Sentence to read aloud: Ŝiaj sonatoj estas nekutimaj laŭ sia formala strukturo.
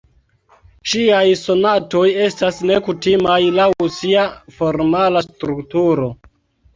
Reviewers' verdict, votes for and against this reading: accepted, 2, 0